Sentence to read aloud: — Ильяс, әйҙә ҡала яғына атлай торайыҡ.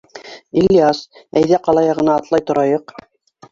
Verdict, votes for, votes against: accepted, 2, 1